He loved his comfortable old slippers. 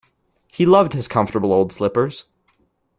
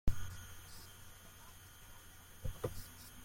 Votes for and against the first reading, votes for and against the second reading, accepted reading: 2, 0, 0, 2, first